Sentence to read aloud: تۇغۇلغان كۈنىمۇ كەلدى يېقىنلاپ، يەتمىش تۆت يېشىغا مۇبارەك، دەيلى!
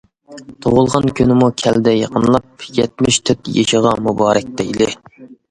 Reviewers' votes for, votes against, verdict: 2, 1, accepted